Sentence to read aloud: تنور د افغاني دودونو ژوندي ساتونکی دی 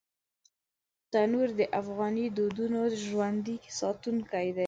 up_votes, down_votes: 2, 0